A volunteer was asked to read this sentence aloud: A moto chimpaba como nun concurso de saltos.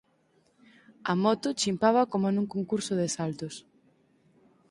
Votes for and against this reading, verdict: 8, 0, accepted